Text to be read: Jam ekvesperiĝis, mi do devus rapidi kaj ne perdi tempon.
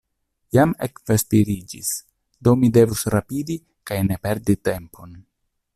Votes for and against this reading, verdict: 0, 2, rejected